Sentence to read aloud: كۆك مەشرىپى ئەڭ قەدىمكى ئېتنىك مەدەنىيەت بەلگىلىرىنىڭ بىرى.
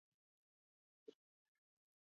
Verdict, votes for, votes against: rejected, 0, 2